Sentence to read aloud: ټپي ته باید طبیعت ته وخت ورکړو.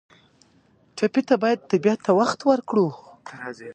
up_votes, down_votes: 1, 2